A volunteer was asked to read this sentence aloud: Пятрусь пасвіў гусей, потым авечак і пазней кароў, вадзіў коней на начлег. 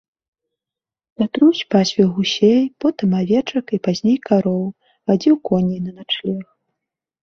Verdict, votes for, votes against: accepted, 2, 0